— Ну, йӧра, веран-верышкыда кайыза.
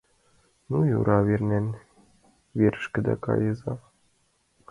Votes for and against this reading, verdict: 2, 0, accepted